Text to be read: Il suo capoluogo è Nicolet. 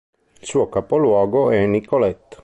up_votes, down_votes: 2, 0